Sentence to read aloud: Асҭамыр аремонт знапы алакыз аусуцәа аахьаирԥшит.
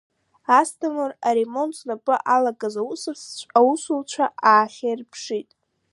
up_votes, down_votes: 0, 2